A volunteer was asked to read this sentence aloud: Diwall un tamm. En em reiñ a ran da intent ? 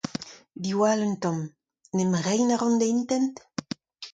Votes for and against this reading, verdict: 2, 0, accepted